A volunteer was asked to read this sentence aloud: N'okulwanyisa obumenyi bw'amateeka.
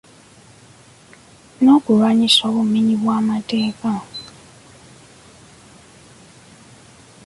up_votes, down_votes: 2, 0